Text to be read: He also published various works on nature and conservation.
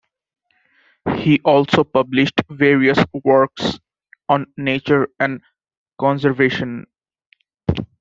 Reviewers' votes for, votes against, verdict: 2, 0, accepted